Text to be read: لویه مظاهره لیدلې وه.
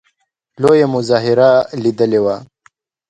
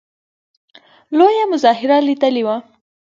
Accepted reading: first